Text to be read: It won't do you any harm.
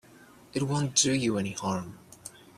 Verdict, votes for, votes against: accepted, 2, 0